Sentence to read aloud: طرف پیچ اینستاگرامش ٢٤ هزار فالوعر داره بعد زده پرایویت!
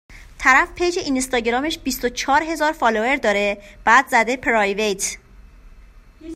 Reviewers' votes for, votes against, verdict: 0, 2, rejected